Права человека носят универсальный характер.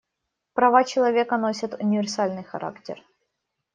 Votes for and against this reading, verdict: 2, 0, accepted